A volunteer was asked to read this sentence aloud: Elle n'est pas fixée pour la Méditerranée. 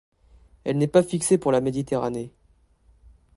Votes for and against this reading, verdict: 2, 0, accepted